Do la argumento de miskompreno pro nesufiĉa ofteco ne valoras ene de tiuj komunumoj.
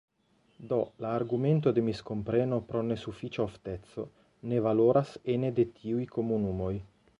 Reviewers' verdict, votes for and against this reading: accepted, 2, 0